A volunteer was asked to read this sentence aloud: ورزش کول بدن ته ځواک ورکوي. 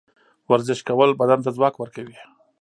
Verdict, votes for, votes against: accepted, 2, 0